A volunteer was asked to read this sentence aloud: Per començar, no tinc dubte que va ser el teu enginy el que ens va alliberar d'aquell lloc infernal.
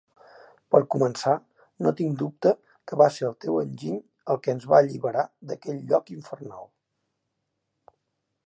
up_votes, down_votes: 3, 1